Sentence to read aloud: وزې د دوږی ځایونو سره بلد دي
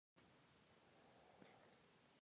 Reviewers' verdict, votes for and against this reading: rejected, 0, 2